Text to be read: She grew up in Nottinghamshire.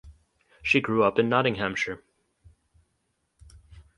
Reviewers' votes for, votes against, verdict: 2, 2, rejected